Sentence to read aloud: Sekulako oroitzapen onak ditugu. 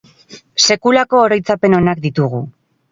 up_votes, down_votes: 0, 2